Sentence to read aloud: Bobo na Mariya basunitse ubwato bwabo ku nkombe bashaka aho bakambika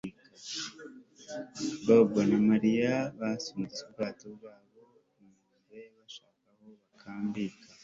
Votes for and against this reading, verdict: 1, 2, rejected